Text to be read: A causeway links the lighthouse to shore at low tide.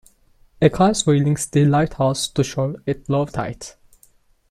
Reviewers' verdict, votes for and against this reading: accepted, 2, 0